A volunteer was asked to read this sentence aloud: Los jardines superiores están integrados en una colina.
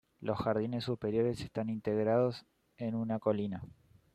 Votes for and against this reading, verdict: 2, 0, accepted